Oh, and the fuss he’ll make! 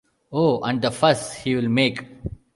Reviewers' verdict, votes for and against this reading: accepted, 2, 0